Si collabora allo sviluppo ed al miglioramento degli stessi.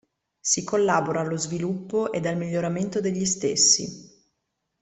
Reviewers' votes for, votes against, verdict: 2, 0, accepted